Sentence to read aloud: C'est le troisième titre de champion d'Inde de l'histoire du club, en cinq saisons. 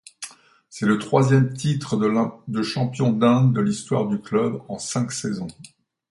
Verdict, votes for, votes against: rejected, 1, 2